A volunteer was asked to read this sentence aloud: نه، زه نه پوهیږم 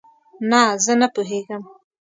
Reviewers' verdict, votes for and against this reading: rejected, 0, 2